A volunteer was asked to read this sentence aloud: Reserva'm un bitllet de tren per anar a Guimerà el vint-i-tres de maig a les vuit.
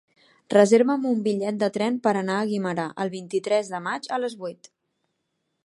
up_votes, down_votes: 3, 0